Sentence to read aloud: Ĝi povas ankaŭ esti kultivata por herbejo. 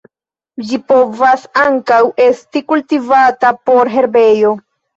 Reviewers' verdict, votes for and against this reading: accepted, 2, 0